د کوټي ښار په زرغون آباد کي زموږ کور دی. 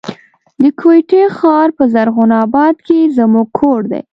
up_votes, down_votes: 2, 0